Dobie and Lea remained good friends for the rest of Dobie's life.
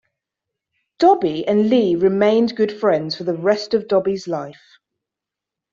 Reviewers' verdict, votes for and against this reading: rejected, 2, 3